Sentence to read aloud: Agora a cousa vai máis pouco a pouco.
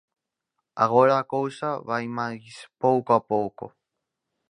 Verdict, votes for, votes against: accepted, 4, 0